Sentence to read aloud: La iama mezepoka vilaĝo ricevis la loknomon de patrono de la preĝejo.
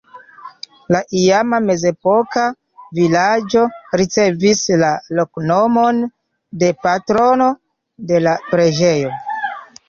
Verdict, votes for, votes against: accepted, 2, 1